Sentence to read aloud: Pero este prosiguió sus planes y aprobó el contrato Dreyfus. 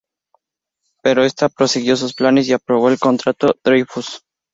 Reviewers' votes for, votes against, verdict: 0, 2, rejected